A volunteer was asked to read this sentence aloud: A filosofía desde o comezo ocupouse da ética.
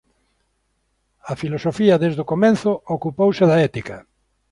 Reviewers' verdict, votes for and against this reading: rejected, 0, 2